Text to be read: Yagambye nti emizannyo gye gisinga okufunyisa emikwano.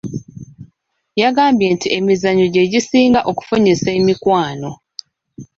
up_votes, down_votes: 2, 0